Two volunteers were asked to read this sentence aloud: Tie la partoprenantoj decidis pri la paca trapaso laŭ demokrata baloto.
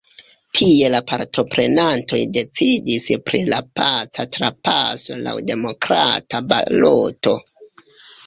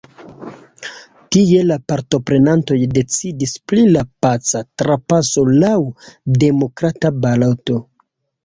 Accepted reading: second